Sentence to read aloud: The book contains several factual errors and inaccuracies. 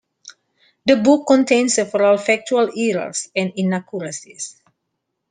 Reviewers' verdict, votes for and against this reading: accepted, 2, 0